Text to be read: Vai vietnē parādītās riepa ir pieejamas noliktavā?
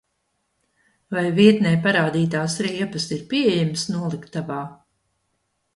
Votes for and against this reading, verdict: 0, 2, rejected